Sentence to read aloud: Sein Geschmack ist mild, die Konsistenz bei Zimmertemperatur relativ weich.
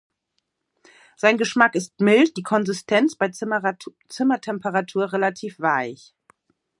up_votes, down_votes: 1, 2